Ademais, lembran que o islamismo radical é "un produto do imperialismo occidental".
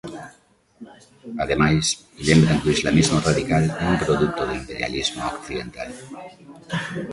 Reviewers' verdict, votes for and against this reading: rejected, 0, 2